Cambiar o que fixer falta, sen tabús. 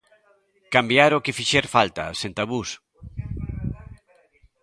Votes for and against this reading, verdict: 1, 2, rejected